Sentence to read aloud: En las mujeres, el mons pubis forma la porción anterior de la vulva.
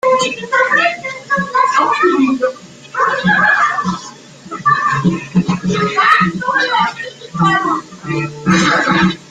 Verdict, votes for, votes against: rejected, 0, 2